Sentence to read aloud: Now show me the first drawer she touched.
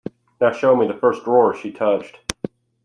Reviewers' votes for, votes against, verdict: 2, 0, accepted